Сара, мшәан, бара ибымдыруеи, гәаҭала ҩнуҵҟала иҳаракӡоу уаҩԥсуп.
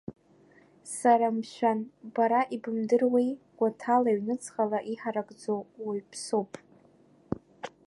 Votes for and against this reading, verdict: 2, 1, accepted